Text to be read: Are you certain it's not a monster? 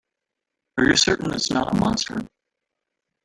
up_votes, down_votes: 0, 2